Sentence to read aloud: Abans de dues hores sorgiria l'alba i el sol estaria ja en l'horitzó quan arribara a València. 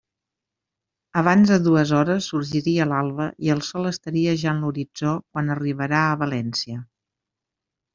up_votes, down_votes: 0, 2